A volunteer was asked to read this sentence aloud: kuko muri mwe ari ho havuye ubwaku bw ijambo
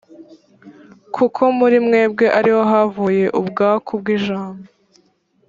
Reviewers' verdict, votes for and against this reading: rejected, 2, 4